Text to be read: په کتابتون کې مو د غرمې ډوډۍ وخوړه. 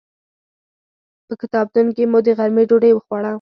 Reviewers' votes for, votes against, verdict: 2, 4, rejected